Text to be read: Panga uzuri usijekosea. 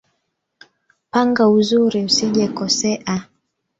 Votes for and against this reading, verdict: 1, 2, rejected